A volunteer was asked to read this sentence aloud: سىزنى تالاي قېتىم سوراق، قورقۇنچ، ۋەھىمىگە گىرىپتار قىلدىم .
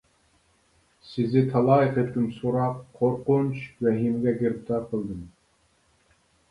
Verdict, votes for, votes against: rejected, 0, 3